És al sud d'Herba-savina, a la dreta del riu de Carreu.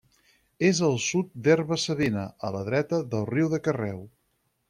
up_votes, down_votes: 4, 0